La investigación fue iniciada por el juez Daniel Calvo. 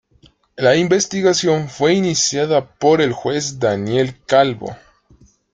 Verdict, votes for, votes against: accepted, 2, 0